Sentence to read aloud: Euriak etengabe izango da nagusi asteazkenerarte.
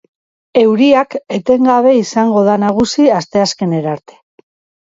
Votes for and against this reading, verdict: 2, 0, accepted